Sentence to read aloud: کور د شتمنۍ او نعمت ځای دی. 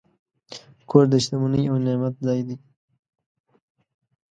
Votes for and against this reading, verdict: 2, 0, accepted